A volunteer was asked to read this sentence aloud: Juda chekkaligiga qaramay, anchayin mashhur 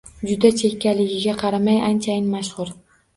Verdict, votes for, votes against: accepted, 2, 0